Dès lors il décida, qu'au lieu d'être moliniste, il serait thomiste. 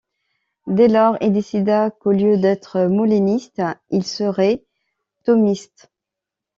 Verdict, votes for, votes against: rejected, 1, 2